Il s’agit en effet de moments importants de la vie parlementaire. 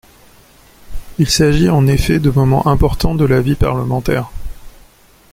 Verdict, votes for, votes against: accepted, 2, 0